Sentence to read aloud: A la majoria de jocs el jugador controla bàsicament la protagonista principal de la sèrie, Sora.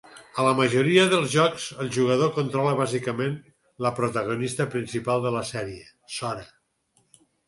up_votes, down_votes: 2, 4